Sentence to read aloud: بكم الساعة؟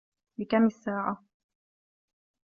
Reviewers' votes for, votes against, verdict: 2, 0, accepted